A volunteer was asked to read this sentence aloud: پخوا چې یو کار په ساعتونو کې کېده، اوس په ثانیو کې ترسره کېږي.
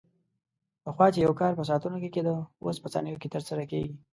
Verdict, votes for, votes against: accepted, 2, 0